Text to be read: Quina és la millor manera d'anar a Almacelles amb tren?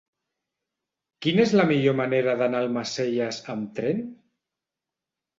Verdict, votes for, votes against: rejected, 0, 2